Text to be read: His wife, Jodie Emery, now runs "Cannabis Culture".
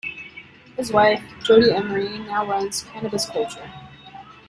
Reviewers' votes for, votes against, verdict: 1, 2, rejected